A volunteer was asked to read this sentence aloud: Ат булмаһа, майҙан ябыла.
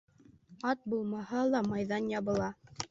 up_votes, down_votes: 1, 2